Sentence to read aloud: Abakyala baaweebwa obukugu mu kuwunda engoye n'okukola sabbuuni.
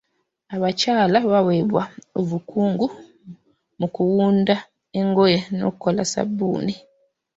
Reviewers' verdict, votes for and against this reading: rejected, 0, 2